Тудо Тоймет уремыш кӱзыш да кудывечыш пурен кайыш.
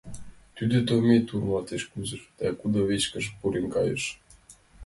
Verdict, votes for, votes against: rejected, 1, 2